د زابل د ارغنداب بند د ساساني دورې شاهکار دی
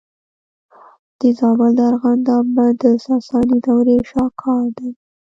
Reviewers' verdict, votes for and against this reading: rejected, 1, 2